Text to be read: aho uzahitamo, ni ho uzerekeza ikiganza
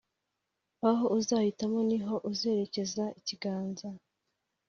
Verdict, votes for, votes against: accepted, 2, 0